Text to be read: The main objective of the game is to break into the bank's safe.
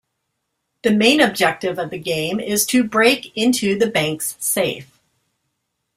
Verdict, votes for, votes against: accepted, 2, 0